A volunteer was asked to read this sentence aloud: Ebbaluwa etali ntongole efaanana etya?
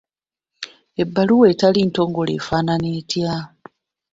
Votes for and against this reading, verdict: 2, 1, accepted